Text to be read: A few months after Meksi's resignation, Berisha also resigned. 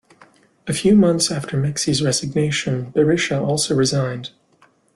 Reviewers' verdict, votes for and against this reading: accepted, 2, 0